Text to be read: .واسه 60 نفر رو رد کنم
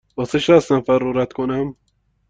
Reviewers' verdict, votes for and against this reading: rejected, 0, 2